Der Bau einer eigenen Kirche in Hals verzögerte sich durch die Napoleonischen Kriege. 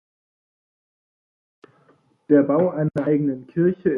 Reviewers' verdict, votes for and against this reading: rejected, 0, 2